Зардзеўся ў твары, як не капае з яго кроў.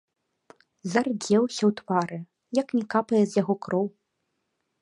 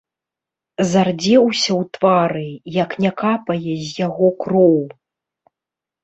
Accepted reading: first